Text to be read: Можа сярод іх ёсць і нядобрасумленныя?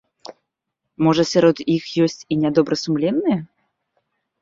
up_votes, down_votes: 2, 0